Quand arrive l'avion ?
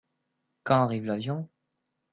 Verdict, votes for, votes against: accepted, 2, 0